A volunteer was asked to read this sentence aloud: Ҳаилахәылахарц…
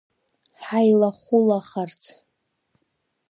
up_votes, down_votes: 1, 2